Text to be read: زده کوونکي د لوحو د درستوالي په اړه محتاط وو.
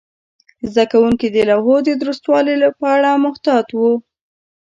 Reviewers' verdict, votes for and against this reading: rejected, 1, 2